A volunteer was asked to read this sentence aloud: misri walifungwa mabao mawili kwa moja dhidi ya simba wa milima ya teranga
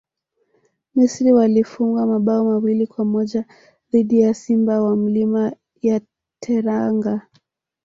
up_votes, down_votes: 1, 2